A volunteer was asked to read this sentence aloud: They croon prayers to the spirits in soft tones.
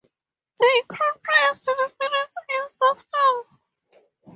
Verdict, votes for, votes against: rejected, 0, 2